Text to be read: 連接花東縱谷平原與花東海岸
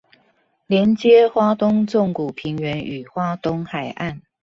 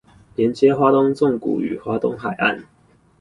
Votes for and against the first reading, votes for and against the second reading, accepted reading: 2, 0, 2, 2, first